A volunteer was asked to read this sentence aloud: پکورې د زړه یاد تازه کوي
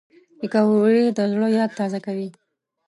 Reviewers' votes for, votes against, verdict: 2, 1, accepted